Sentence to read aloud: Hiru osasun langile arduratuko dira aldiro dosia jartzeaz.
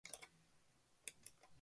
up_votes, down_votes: 0, 2